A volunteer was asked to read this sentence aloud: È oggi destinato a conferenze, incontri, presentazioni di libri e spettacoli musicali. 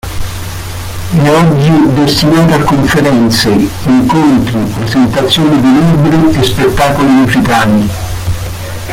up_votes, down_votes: 0, 2